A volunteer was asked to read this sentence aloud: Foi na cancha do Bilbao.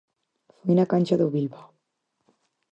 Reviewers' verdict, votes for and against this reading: rejected, 0, 4